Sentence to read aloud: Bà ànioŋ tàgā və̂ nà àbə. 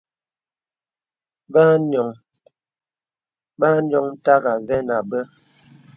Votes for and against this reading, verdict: 0, 2, rejected